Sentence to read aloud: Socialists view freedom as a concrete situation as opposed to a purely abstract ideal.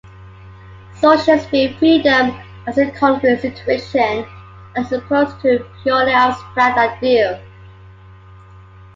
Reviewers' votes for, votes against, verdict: 1, 2, rejected